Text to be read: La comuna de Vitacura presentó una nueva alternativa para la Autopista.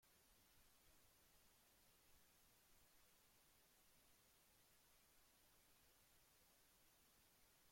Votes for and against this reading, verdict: 0, 2, rejected